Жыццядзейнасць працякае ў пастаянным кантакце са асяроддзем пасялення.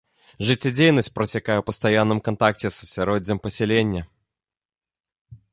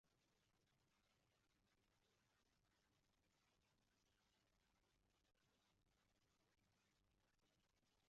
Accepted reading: first